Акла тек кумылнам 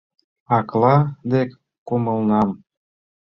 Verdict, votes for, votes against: rejected, 0, 2